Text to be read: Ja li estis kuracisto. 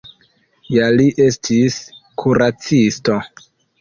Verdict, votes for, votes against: accepted, 2, 0